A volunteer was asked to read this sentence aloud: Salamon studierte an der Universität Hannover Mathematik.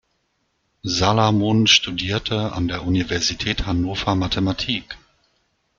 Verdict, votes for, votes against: accepted, 2, 0